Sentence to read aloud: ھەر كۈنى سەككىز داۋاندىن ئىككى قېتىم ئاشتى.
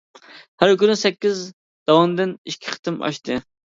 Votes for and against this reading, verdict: 2, 0, accepted